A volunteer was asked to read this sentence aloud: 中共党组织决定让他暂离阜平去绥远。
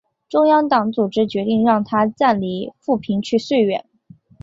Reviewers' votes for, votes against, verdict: 2, 0, accepted